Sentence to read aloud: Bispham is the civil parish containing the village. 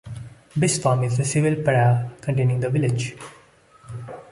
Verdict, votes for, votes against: accepted, 2, 0